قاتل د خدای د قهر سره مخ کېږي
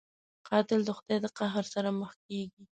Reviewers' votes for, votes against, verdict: 2, 0, accepted